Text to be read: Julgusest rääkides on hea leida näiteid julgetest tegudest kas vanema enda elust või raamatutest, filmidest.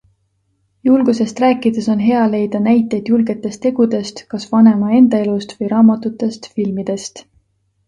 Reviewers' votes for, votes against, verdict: 2, 0, accepted